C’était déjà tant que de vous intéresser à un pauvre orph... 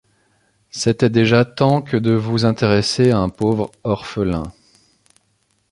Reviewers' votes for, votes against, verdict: 1, 2, rejected